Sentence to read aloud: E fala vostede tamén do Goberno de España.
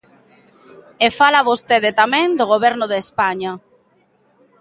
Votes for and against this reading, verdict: 2, 0, accepted